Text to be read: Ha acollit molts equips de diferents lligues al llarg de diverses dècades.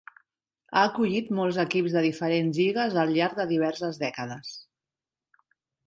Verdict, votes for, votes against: accepted, 3, 0